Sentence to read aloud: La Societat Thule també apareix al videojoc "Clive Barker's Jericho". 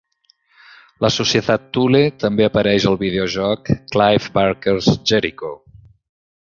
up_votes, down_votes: 3, 0